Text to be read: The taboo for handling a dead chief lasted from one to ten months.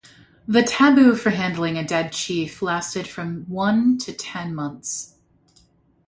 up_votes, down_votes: 2, 0